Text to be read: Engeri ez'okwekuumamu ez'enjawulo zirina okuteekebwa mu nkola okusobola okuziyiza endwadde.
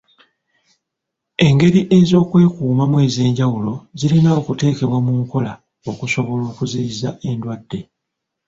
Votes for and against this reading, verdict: 0, 2, rejected